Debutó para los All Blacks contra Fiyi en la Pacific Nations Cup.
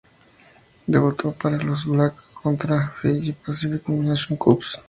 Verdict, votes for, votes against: rejected, 2, 2